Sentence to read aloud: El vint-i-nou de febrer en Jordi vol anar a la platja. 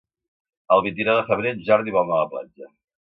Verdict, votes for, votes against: accepted, 2, 1